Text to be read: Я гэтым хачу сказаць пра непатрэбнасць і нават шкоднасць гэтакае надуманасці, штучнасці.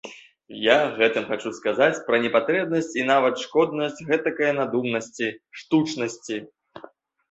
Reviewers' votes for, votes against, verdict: 2, 0, accepted